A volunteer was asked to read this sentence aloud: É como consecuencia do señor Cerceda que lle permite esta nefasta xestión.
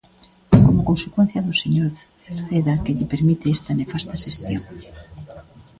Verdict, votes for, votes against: rejected, 0, 2